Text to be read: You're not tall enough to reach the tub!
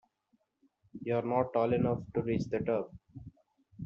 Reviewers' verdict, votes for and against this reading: rejected, 1, 2